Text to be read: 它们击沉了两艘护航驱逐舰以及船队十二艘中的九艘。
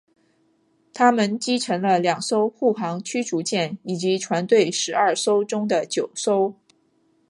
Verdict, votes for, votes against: accepted, 5, 1